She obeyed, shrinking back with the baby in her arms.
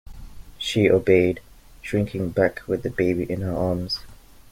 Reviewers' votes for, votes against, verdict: 2, 0, accepted